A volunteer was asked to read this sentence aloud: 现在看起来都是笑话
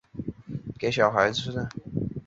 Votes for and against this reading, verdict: 0, 3, rejected